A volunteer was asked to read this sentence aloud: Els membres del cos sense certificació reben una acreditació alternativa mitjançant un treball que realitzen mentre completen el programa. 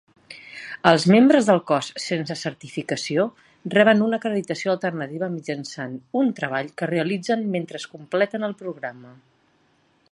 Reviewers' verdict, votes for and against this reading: rejected, 0, 2